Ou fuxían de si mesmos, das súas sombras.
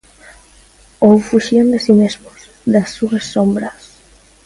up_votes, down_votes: 2, 0